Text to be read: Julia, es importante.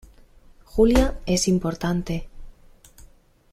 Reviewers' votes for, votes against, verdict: 2, 0, accepted